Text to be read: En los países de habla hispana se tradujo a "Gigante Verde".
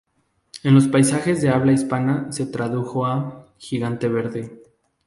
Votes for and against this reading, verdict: 0, 2, rejected